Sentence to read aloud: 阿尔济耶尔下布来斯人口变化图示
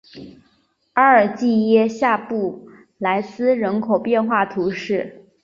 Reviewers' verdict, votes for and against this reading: accepted, 2, 0